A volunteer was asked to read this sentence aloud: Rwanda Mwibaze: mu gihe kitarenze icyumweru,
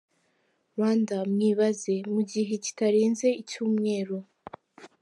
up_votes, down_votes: 3, 0